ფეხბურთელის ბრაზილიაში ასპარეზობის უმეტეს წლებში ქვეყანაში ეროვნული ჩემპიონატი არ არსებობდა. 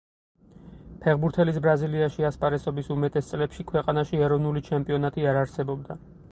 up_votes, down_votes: 4, 0